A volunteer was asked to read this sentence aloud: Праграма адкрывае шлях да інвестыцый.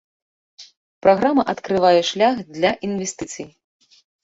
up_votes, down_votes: 0, 2